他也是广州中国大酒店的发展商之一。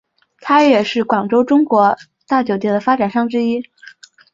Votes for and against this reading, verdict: 7, 1, accepted